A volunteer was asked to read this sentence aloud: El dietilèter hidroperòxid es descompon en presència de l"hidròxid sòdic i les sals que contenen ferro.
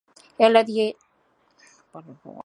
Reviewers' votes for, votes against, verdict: 0, 2, rejected